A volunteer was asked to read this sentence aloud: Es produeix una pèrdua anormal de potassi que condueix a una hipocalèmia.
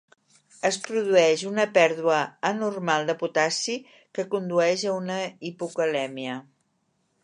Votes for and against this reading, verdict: 3, 1, accepted